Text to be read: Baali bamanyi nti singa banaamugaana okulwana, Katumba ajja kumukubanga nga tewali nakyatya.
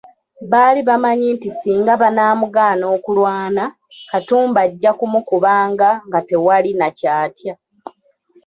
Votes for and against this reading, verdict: 2, 1, accepted